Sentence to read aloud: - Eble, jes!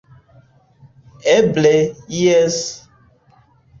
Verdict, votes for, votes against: accepted, 2, 0